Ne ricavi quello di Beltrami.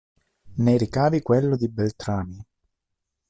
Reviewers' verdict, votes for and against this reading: accepted, 2, 1